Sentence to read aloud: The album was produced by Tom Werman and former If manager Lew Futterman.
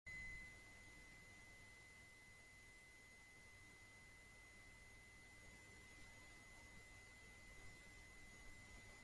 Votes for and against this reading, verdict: 0, 2, rejected